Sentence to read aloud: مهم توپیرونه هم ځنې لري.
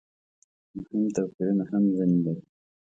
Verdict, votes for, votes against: rejected, 0, 2